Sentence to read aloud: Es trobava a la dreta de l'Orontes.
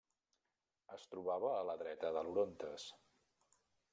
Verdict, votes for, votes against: rejected, 1, 2